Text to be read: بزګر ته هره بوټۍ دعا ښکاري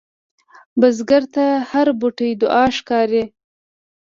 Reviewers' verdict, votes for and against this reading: accepted, 2, 0